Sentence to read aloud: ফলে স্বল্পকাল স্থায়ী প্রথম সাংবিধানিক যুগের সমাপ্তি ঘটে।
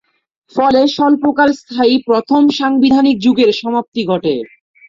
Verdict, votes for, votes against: accepted, 3, 1